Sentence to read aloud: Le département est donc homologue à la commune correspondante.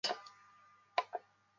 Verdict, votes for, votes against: rejected, 0, 2